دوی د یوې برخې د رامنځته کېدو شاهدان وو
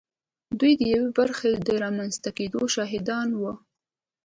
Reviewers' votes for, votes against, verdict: 2, 0, accepted